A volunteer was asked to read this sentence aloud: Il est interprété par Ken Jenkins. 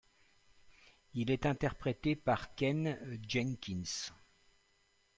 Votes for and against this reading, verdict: 2, 0, accepted